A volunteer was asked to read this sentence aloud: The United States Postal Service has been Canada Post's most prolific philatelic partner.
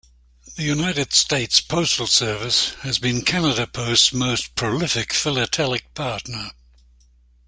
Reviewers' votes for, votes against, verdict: 2, 0, accepted